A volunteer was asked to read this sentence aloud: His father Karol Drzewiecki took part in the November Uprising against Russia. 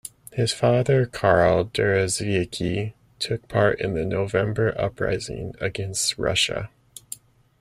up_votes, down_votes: 0, 2